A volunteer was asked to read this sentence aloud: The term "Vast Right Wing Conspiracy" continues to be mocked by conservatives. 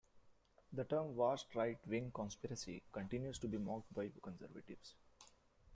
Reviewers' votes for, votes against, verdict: 2, 1, accepted